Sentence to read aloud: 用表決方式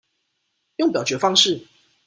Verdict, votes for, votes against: accepted, 2, 0